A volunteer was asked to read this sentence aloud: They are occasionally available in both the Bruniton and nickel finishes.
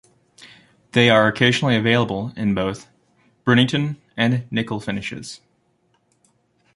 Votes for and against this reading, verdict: 2, 1, accepted